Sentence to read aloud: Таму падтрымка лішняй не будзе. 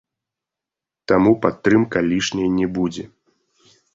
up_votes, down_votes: 2, 0